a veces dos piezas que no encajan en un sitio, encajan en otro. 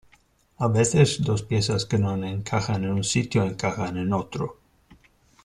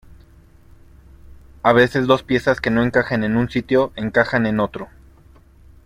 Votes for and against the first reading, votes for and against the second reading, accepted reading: 0, 2, 2, 0, second